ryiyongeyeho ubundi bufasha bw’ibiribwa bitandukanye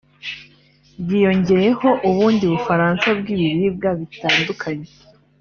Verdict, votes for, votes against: rejected, 0, 3